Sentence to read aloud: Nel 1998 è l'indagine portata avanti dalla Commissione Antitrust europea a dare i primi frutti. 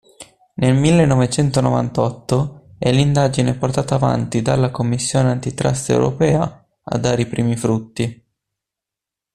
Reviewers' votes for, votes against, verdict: 0, 2, rejected